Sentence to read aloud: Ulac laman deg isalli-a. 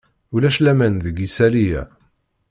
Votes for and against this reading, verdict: 2, 0, accepted